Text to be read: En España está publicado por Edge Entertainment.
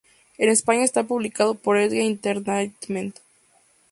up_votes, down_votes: 4, 0